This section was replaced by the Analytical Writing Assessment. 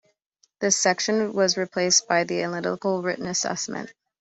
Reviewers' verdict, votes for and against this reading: accepted, 2, 1